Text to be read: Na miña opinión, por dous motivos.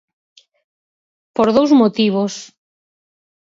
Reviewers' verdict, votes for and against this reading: rejected, 0, 4